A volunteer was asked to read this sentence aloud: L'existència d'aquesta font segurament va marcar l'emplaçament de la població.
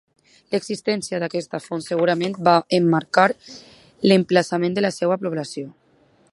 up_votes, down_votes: 0, 2